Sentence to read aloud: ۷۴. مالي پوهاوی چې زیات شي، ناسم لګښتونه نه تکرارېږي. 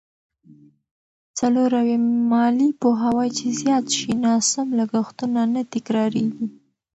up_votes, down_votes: 0, 2